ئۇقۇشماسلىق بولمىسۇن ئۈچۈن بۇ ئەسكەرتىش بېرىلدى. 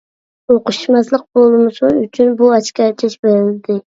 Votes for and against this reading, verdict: 0, 2, rejected